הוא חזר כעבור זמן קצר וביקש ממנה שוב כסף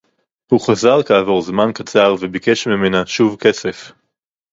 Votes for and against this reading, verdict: 4, 0, accepted